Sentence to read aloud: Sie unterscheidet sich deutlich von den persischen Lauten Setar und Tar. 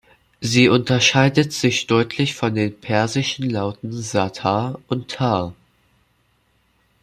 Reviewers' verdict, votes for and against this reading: accepted, 2, 0